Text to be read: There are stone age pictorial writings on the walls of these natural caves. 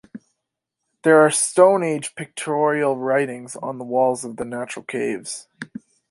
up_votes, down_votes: 1, 2